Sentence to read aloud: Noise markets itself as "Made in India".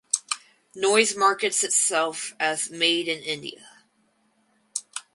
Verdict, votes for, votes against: accepted, 4, 0